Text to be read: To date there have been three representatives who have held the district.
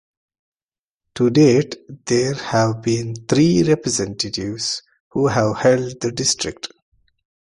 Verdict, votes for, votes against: accepted, 2, 0